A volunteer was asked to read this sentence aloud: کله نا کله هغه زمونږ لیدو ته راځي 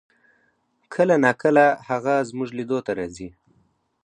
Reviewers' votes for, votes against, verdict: 4, 0, accepted